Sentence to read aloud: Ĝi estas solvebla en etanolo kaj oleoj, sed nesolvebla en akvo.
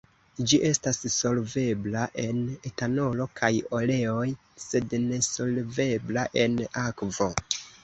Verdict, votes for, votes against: accepted, 2, 0